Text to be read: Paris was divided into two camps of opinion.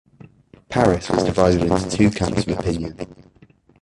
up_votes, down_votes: 0, 2